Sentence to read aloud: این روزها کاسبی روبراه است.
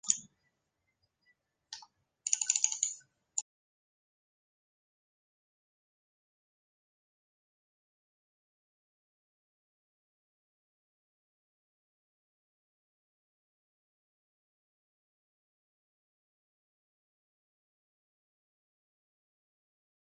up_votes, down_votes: 0, 6